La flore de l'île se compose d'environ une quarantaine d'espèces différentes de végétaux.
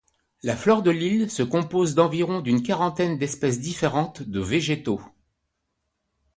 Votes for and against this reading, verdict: 0, 2, rejected